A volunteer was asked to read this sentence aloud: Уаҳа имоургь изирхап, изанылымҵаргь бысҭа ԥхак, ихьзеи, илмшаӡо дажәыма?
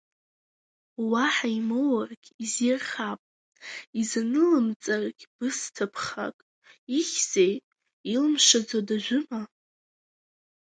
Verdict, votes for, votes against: accepted, 2, 1